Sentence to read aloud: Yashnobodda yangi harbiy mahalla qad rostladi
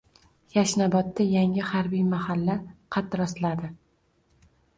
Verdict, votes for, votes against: accepted, 2, 0